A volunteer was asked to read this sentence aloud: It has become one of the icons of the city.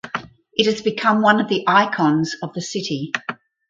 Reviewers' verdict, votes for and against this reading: accepted, 4, 0